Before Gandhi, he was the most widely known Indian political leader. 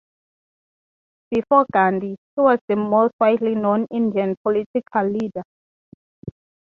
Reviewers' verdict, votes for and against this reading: accepted, 3, 0